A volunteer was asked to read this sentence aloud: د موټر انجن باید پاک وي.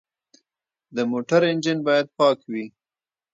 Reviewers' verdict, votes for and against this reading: rejected, 0, 2